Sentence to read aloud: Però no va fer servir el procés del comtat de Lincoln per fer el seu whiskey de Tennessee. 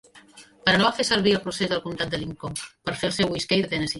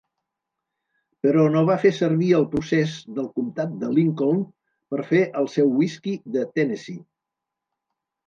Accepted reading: second